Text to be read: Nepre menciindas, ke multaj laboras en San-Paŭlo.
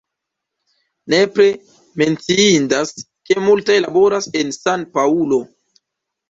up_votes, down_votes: 0, 2